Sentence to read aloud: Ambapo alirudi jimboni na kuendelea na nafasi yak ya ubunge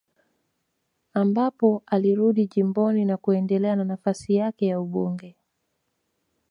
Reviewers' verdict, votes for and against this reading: rejected, 1, 2